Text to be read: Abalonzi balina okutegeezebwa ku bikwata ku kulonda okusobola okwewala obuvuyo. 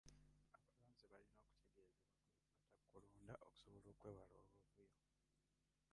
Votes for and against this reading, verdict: 0, 2, rejected